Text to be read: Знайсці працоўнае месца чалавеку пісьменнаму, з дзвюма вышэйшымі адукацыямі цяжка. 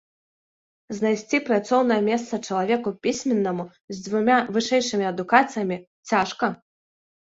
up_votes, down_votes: 0, 2